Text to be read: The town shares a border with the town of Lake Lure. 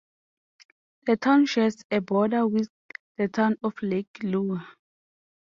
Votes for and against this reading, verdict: 4, 1, accepted